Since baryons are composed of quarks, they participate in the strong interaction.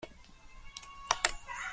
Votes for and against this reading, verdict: 0, 2, rejected